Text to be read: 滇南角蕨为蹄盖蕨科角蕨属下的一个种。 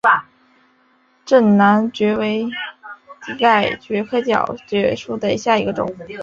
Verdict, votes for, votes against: rejected, 1, 3